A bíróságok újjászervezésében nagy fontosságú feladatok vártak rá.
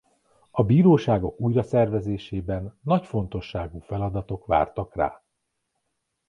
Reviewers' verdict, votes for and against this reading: rejected, 1, 2